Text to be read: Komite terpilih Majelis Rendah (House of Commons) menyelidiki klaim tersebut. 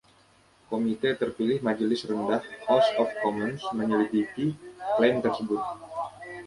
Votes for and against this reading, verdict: 1, 2, rejected